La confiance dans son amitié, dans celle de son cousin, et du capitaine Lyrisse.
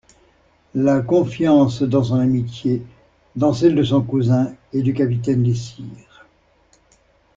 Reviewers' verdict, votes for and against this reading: rejected, 0, 2